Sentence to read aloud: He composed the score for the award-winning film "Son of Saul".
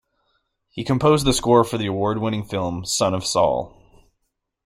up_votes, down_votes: 2, 0